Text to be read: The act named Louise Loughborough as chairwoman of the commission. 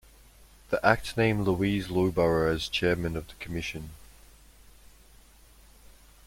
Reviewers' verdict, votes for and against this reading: rejected, 1, 2